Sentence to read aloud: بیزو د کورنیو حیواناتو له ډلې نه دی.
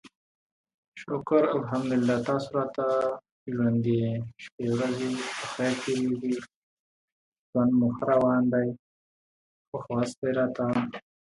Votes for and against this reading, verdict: 0, 2, rejected